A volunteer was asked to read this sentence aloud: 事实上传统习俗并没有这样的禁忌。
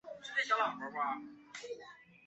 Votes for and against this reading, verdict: 1, 3, rejected